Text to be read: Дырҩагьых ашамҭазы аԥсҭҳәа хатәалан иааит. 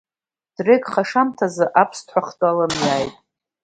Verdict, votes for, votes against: rejected, 1, 2